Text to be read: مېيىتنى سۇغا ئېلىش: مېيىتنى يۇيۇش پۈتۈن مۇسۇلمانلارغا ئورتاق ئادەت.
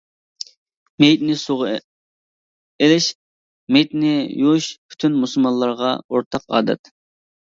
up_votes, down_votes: 0, 2